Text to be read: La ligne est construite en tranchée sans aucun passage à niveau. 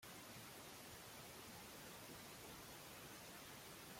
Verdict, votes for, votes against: rejected, 0, 2